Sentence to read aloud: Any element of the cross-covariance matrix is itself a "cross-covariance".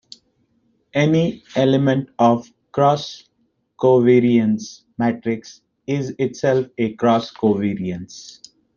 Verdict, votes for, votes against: rejected, 0, 2